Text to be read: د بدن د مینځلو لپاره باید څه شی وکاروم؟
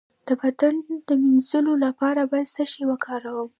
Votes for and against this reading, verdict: 1, 2, rejected